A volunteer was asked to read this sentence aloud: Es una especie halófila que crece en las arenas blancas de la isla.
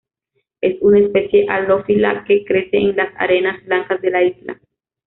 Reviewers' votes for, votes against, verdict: 0, 2, rejected